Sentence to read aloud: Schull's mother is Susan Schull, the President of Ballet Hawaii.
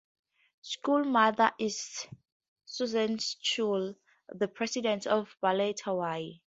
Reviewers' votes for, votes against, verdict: 2, 0, accepted